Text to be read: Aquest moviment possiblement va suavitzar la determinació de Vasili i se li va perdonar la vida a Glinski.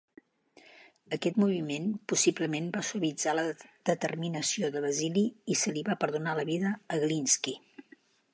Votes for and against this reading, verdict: 0, 2, rejected